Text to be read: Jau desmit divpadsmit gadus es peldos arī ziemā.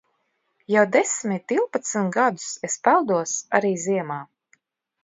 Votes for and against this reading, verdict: 2, 0, accepted